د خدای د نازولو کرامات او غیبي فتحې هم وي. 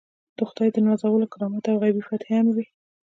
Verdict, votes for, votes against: rejected, 1, 2